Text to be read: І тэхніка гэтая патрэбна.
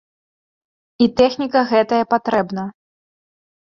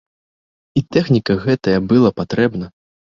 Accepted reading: first